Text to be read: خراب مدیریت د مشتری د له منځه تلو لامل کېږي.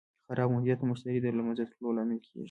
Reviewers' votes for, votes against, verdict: 1, 2, rejected